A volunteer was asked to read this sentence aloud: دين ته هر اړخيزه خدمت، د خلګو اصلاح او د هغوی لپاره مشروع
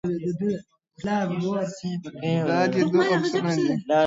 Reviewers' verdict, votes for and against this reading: rejected, 0, 2